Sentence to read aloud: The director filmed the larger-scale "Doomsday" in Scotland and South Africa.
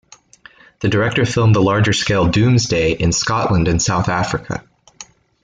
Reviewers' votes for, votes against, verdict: 2, 0, accepted